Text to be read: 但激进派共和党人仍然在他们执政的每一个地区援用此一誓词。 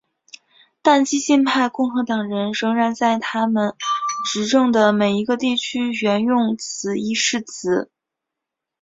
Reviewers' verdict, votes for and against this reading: accepted, 3, 0